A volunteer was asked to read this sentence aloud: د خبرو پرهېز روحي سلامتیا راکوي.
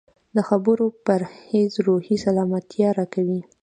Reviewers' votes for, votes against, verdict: 1, 2, rejected